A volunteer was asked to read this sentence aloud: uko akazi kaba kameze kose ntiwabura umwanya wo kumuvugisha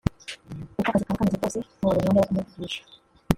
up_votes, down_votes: 0, 2